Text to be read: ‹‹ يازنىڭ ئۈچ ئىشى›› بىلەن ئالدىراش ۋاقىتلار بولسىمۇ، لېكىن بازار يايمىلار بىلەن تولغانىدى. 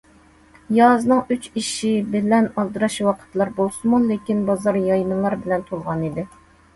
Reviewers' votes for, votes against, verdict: 2, 0, accepted